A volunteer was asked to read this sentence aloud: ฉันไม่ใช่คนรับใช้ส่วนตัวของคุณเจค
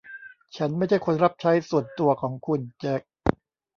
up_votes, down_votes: 0, 2